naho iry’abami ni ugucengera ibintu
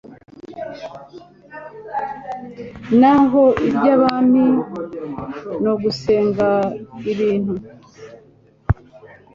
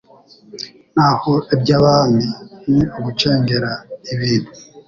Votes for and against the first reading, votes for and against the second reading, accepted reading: 1, 2, 2, 0, second